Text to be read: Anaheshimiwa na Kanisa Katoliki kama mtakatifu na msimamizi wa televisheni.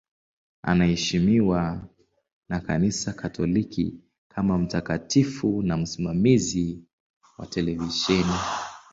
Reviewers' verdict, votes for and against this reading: accepted, 2, 0